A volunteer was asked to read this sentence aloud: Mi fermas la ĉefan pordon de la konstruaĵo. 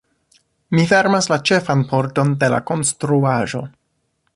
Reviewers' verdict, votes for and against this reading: accepted, 2, 0